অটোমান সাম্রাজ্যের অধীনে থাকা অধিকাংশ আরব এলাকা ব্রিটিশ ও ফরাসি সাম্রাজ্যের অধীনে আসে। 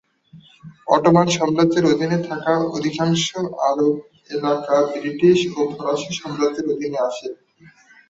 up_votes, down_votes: 2, 1